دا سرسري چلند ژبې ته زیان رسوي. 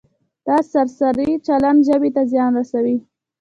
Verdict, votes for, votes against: rejected, 1, 2